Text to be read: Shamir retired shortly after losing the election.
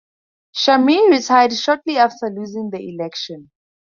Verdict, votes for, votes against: rejected, 0, 2